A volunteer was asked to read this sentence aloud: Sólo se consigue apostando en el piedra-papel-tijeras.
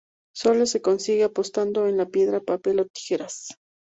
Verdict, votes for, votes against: rejected, 0, 4